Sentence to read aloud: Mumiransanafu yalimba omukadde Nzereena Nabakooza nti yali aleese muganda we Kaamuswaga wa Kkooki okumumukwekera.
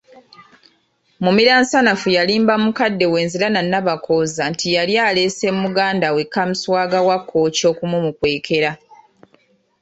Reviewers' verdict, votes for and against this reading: rejected, 1, 2